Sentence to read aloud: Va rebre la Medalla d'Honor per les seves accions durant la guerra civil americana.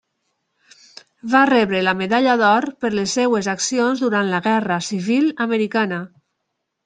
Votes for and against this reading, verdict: 0, 2, rejected